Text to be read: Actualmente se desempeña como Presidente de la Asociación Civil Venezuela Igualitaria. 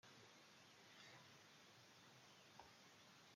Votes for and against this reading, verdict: 0, 2, rejected